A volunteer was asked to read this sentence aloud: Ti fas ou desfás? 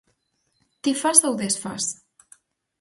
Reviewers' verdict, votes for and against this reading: accepted, 4, 0